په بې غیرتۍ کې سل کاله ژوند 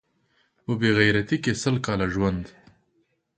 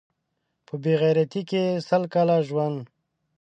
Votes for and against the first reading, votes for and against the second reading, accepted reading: 2, 0, 2, 3, first